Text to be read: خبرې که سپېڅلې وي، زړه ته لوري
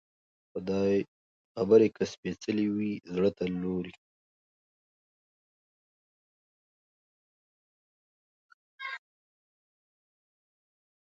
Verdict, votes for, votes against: rejected, 0, 2